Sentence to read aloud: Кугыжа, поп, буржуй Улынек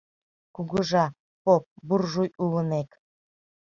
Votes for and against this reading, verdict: 2, 0, accepted